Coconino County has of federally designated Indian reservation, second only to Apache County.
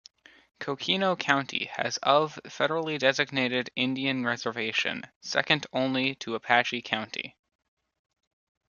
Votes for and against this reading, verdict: 0, 2, rejected